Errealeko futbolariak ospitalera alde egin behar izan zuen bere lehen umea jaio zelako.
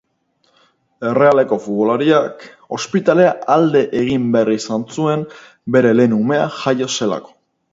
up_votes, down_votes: 2, 0